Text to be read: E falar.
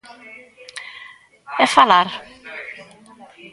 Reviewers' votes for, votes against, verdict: 2, 1, accepted